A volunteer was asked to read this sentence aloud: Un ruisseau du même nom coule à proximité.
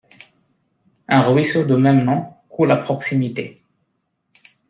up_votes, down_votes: 1, 2